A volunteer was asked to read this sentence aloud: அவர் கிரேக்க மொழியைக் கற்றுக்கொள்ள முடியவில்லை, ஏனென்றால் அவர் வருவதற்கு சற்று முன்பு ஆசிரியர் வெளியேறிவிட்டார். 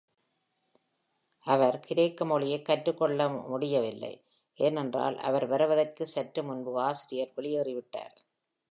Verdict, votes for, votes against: accepted, 2, 0